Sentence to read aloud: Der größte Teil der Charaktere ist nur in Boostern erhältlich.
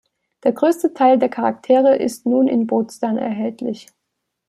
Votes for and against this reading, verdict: 1, 2, rejected